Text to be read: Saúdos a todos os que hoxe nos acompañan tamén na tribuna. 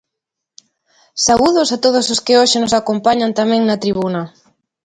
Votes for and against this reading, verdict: 3, 0, accepted